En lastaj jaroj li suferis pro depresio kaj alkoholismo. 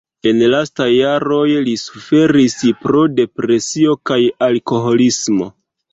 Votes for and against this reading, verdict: 1, 2, rejected